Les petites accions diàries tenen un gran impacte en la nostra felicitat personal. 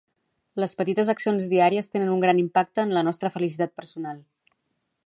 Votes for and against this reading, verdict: 4, 0, accepted